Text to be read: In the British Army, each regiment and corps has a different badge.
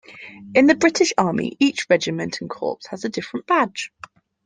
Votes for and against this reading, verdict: 2, 1, accepted